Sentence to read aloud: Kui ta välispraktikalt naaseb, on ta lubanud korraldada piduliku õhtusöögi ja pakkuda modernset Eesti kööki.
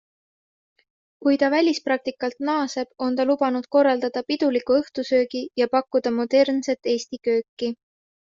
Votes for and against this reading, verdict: 2, 0, accepted